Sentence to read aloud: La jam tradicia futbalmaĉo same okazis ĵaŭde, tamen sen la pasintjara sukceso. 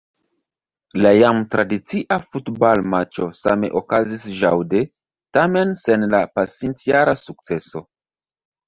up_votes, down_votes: 2, 0